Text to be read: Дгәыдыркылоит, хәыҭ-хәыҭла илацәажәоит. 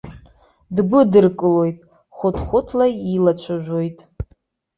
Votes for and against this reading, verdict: 0, 2, rejected